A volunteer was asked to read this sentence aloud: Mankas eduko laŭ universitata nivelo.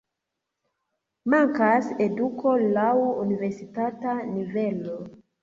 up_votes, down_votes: 0, 2